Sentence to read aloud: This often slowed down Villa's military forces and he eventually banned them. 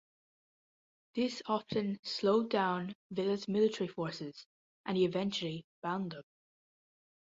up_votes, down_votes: 0, 2